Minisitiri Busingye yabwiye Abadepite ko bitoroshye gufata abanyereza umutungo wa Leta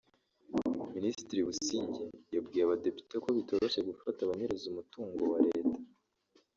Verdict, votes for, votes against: accepted, 2, 1